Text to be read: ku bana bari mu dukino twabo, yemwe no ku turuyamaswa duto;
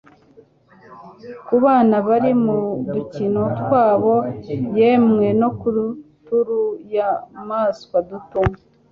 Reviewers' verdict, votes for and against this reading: rejected, 1, 2